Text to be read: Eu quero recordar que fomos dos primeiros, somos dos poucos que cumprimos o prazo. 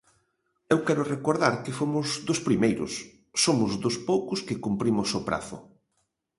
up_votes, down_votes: 2, 0